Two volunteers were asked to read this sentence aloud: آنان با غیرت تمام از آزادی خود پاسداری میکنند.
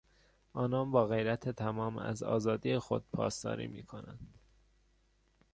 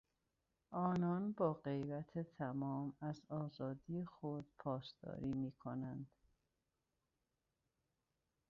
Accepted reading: first